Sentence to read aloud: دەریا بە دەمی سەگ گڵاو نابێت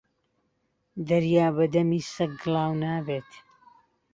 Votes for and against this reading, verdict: 3, 0, accepted